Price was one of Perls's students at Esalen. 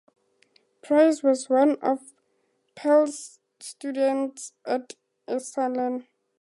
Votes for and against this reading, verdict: 2, 0, accepted